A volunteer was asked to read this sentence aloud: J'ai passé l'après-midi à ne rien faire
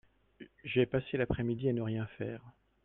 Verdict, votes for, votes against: rejected, 1, 2